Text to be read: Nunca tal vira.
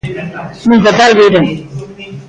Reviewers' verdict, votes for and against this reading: rejected, 1, 2